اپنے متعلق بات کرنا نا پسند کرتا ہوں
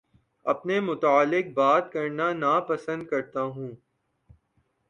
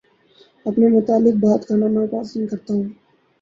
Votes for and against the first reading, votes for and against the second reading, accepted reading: 3, 0, 0, 2, first